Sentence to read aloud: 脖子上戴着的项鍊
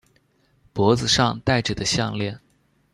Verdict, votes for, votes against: accepted, 2, 0